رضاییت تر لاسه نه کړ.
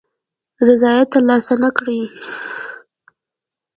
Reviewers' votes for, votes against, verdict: 1, 2, rejected